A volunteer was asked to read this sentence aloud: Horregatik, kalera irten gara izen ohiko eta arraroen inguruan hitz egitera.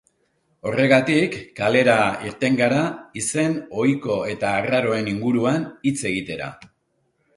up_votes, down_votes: 3, 0